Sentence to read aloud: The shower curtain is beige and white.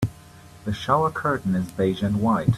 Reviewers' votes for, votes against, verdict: 3, 0, accepted